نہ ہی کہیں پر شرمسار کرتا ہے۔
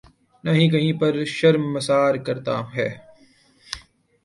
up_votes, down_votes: 2, 0